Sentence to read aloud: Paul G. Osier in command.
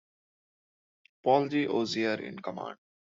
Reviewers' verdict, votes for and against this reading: accepted, 2, 1